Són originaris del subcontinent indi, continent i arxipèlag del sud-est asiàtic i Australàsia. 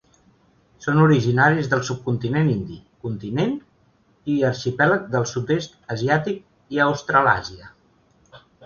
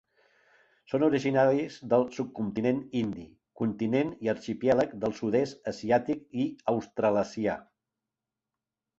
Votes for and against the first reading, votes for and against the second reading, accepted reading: 2, 0, 2, 3, first